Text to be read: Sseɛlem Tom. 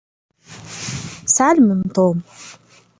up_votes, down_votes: 1, 2